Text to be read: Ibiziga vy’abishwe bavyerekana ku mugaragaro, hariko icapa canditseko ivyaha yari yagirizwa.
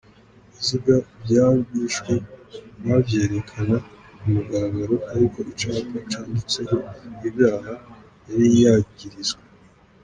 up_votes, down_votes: 0, 2